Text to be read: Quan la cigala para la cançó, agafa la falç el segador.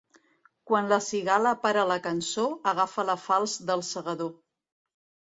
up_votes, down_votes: 1, 2